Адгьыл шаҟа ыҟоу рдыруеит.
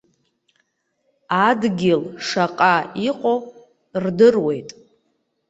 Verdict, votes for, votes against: accepted, 2, 0